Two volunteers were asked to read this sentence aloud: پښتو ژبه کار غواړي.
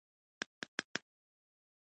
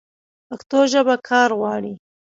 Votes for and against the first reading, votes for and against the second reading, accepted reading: 0, 2, 2, 1, second